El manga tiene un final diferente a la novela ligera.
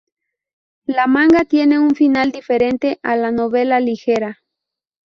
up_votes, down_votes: 0, 2